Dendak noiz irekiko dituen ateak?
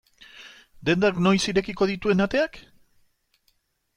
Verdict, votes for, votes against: accepted, 2, 0